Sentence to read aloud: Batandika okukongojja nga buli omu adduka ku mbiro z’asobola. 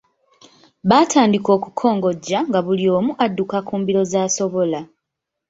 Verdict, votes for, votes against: accepted, 2, 0